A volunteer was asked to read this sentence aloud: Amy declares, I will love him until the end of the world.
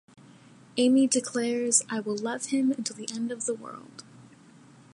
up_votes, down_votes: 2, 0